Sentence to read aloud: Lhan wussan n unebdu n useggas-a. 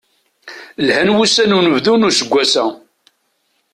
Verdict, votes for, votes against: accepted, 2, 0